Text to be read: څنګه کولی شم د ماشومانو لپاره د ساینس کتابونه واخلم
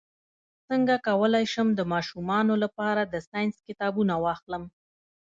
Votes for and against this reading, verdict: 2, 0, accepted